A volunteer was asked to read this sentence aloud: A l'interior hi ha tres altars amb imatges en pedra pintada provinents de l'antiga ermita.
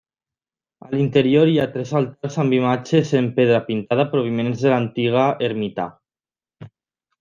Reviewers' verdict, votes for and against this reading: rejected, 0, 2